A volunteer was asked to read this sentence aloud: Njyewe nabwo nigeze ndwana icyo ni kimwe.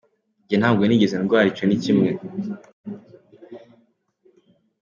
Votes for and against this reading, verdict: 2, 0, accepted